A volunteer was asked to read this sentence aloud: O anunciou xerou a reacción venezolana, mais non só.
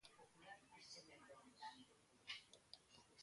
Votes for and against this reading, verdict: 0, 2, rejected